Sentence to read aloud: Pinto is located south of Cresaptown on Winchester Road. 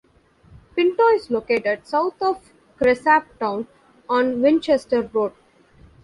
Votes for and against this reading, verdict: 2, 1, accepted